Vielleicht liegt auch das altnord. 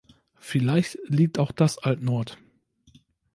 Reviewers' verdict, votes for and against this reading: accepted, 2, 0